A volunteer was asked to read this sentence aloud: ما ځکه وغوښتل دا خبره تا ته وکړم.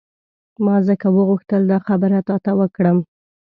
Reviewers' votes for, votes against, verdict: 2, 0, accepted